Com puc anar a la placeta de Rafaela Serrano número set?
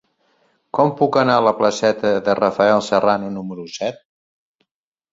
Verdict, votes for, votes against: rejected, 1, 2